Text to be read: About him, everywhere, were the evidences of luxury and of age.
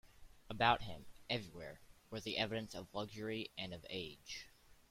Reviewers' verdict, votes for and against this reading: rejected, 1, 2